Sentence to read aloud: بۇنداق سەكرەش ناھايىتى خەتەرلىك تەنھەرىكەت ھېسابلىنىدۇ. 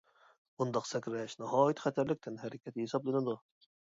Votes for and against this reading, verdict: 2, 0, accepted